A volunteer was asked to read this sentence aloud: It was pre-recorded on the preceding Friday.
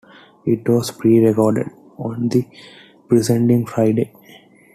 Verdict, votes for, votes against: accepted, 2, 1